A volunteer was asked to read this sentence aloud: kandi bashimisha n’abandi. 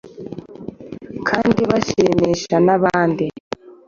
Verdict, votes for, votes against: accepted, 2, 0